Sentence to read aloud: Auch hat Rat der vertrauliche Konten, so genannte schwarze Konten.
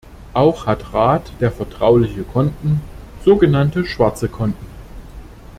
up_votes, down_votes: 2, 0